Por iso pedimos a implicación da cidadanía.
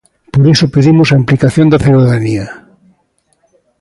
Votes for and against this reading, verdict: 2, 0, accepted